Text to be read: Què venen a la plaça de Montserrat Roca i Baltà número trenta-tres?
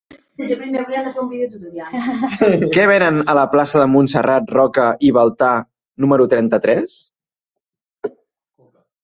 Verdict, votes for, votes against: rejected, 1, 2